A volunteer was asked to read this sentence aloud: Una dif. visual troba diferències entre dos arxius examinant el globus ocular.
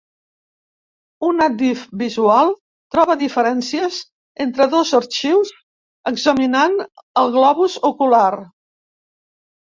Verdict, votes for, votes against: accepted, 2, 0